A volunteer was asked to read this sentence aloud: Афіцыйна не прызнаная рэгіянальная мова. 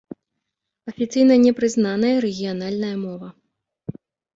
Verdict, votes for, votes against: accepted, 2, 0